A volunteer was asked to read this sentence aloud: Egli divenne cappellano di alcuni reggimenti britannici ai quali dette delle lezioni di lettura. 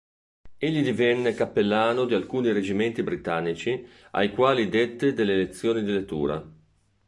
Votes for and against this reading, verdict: 2, 0, accepted